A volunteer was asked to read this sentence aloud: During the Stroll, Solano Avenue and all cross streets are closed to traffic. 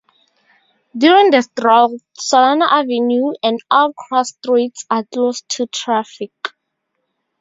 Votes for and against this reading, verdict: 2, 2, rejected